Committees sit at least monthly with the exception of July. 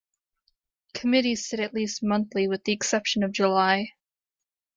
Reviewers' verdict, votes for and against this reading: accepted, 2, 0